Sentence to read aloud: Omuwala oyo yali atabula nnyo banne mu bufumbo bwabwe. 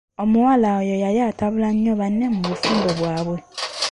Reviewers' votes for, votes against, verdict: 1, 2, rejected